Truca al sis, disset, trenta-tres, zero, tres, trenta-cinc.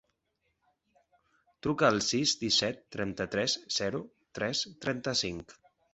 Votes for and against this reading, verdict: 1, 2, rejected